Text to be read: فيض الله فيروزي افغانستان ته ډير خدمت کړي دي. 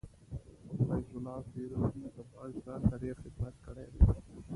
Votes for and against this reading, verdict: 1, 2, rejected